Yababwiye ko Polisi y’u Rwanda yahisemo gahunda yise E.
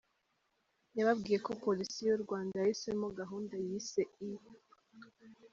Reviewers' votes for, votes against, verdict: 2, 0, accepted